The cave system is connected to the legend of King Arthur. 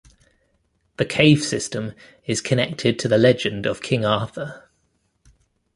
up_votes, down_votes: 2, 0